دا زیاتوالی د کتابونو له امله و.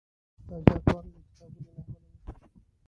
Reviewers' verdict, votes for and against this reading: rejected, 1, 2